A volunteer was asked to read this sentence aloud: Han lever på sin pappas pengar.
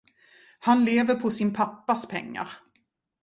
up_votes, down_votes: 2, 0